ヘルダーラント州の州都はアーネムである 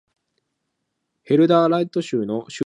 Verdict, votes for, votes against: rejected, 1, 2